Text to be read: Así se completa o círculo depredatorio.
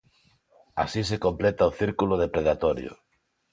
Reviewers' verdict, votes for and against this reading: accepted, 3, 0